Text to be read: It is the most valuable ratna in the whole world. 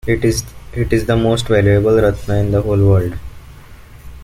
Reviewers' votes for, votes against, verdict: 0, 2, rejected